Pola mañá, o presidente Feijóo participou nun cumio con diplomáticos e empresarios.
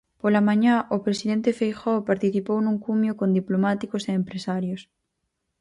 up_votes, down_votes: 4, 0